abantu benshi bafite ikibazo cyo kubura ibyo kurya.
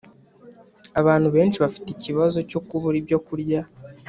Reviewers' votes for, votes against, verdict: 3, 0, accepted